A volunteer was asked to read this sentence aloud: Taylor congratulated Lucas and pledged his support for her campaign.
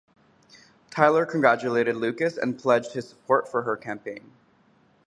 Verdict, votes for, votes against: rejected, 0, 4